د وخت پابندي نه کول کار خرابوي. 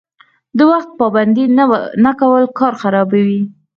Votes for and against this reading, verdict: 2, 4, rejected